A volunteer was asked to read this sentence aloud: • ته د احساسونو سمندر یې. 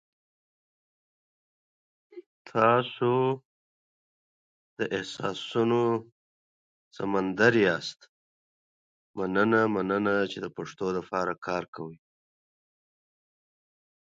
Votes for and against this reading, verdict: 0, 2, rejected